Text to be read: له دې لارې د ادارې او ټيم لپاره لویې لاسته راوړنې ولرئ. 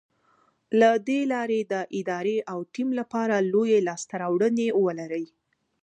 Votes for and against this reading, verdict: 1, 2, rejected